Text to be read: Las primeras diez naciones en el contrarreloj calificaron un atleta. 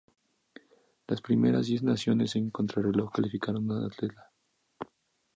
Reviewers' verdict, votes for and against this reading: rejected, 2, 2